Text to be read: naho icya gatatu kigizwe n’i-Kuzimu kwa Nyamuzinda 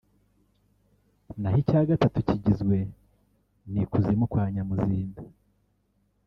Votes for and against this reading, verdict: 1, 2, rejected